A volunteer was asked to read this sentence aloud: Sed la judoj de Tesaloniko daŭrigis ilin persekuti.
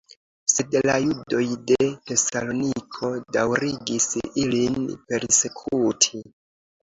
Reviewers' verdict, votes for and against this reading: rejected, 0, 2